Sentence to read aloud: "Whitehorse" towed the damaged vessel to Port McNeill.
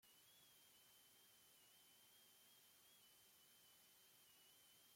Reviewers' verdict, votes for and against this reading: rejected, 0, 2